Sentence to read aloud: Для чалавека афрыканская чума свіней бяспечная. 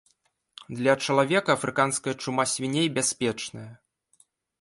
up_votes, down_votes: 2, 0